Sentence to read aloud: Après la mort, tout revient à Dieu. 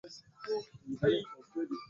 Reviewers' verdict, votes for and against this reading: rejected, 0, 2